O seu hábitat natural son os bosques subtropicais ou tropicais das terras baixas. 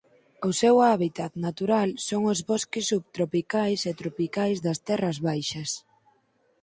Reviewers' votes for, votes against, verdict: 0, 4, rejected